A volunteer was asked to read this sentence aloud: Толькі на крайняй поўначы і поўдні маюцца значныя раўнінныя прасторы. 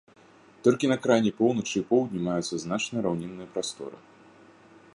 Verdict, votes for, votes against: accepted, 2, 0